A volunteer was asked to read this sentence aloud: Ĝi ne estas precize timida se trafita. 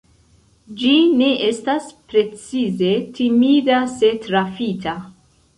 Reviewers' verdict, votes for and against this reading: accepted, 2, 0